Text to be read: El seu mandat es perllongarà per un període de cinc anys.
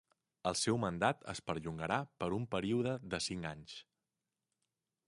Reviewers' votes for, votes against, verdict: 5, 0, accepted